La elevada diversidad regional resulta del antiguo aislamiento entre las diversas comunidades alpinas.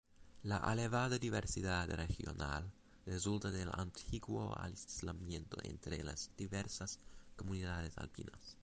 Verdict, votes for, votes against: accepted, 2, 0